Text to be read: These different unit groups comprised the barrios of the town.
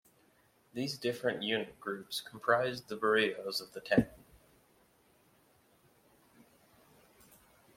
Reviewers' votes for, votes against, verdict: 2, 0, accepted